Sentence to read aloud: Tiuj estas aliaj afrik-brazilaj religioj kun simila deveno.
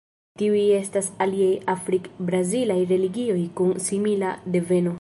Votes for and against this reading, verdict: 2, 1, accepted